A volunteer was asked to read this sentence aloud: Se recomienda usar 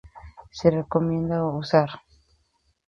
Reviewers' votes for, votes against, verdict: 2, 0, accepted